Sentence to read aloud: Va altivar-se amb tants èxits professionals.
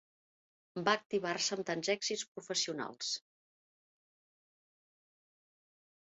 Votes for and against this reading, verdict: 1, 2, rejected